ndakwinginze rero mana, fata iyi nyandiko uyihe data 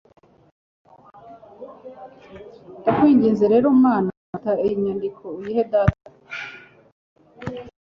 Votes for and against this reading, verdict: 1, 2, rejected